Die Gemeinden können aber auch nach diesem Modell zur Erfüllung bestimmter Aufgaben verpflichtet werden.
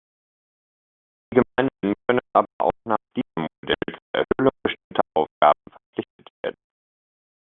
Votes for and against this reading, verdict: 0, 2, rejected